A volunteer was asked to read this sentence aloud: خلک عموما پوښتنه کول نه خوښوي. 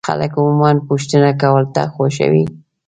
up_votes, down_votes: 1, 2